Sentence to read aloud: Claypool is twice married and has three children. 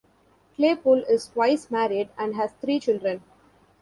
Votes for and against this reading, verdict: 2, 0, accepted